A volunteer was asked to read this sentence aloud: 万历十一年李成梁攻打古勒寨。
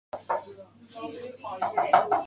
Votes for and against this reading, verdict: 0, 2, rejected